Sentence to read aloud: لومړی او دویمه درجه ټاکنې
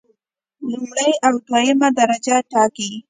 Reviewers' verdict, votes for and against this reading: accepted, 2, 1